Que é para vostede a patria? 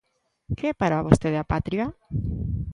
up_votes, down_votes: 2, 0